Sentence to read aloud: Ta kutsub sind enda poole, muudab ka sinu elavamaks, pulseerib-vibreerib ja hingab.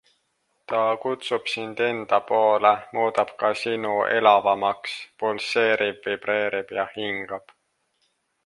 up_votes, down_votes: 2, 0